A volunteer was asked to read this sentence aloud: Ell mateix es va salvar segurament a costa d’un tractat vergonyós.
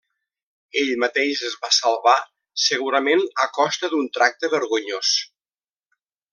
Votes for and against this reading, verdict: 0, 2, rejected